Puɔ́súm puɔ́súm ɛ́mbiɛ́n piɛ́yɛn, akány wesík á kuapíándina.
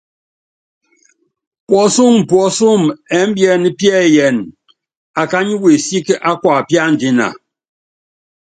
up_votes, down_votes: 2, 0